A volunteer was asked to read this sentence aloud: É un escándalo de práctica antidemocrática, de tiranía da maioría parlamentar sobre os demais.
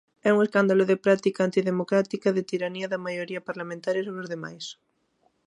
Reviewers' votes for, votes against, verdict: 1, 2, rejected